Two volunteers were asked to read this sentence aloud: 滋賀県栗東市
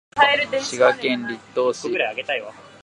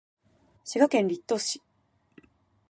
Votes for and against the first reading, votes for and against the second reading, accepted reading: 1, 2, 3, 0, second